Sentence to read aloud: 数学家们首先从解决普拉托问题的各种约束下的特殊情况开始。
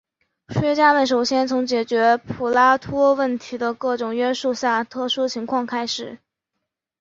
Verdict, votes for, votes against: rejected, 4, 5